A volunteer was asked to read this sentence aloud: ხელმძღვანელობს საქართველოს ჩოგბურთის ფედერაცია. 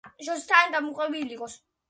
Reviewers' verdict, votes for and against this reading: rejected, 0, 2